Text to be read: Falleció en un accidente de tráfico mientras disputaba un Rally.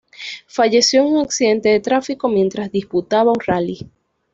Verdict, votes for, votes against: accepted, 2, 0